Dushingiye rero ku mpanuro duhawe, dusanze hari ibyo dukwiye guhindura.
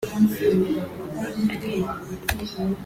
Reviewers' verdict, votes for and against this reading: rejected, 1, 2